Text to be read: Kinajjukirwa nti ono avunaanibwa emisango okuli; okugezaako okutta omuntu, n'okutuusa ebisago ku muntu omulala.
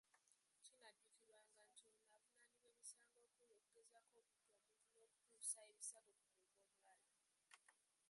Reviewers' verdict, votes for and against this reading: rejected, 0, 2